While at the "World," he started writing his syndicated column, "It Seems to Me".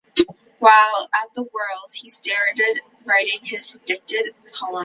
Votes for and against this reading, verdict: 0, 3, rejected